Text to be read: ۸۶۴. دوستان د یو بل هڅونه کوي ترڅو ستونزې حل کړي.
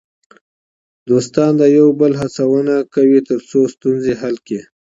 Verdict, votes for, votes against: rejected, 0, 2